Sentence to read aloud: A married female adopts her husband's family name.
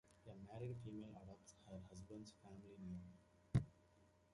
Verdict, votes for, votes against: rejected, 0, 2